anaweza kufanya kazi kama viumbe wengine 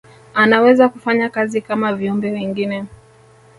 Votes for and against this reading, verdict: 1, 2, rejected